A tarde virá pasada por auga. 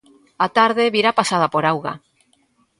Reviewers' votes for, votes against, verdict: 2, 0, accepted